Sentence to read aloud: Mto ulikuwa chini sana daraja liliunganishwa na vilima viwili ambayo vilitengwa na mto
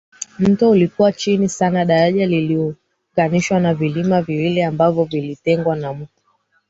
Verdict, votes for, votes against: rejected, 2, 3